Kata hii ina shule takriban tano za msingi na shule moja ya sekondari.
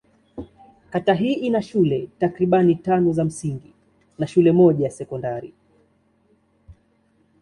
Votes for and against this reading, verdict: 2, 0, accepted